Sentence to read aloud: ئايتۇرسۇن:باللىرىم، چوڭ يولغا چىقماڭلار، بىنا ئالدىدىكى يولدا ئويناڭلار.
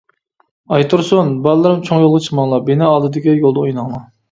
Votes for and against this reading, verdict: 0, 2, rejected